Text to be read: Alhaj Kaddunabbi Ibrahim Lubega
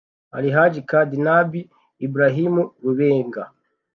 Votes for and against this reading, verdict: 0, 2, rejected